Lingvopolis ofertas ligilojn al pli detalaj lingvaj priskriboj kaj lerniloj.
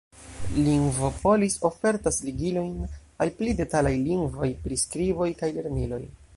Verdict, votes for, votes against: rejected, 1, 2